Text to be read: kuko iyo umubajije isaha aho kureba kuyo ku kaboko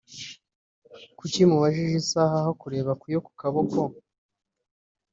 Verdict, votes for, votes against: rejected, 0, 2